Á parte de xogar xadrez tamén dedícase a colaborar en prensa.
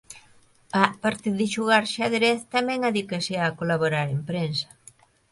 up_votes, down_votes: 0, 2